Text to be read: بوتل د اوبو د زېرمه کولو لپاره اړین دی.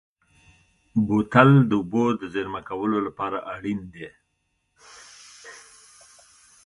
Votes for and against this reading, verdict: 2, 0, accepted